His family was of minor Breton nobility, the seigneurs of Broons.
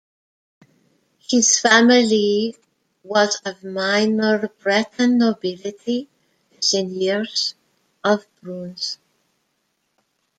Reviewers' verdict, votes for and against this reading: rejected, 1, 2